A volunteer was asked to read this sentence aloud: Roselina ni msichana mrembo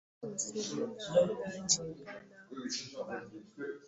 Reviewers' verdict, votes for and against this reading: rejected, 0, 2